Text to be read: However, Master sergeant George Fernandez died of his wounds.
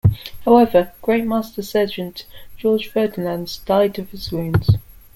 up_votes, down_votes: 0, 2